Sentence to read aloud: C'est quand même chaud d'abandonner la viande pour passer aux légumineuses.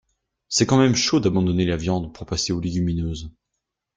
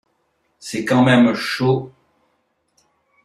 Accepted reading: first